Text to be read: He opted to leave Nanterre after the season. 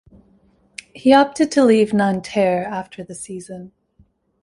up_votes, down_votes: 2, 0